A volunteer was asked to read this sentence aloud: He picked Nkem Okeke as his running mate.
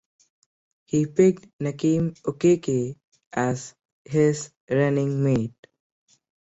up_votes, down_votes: 2, 0